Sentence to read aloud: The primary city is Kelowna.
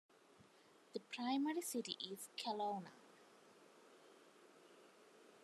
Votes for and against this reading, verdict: 2, 0, accepted